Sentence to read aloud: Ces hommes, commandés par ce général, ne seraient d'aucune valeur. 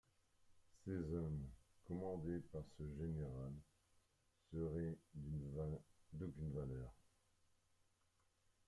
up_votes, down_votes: 0, 2